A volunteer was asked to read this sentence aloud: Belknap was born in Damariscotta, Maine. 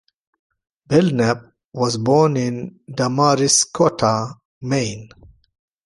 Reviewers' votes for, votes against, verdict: 0, 2, rejected